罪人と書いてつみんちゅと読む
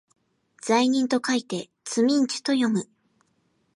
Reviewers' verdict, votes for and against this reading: accepted, 2, 0